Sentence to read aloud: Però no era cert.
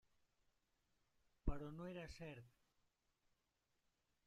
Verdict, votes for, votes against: rejected, 0, 2